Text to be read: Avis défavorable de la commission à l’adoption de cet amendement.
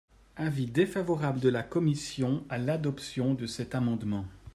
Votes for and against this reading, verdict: 2, 0, accepted